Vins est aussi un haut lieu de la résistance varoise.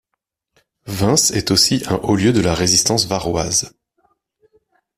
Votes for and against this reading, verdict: 2, 0, accepted